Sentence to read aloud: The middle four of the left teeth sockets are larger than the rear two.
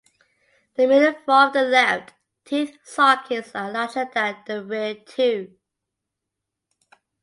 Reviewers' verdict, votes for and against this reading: accepted, 2, 0